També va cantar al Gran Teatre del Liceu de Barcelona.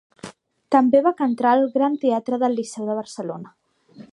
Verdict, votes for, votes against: rejected, 1, 2